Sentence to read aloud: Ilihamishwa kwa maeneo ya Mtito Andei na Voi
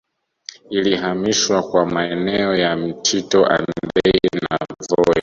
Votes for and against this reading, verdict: 0, 2, rejected